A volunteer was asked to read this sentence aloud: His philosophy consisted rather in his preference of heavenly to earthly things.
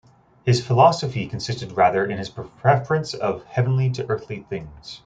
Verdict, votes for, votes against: rejected, 0, 2